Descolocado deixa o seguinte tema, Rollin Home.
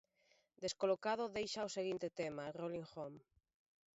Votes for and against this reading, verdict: 2, 0, accepted